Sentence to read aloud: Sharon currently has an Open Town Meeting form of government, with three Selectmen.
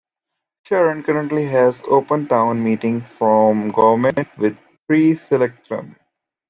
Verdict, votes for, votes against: accepted, 2, 1